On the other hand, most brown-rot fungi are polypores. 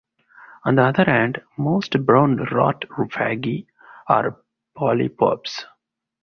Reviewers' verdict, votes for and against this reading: rejected, 2, 4